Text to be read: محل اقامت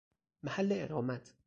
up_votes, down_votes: 0, 2